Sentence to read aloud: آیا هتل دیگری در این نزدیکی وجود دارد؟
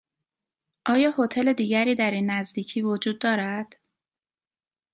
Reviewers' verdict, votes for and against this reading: accepted, 2, 0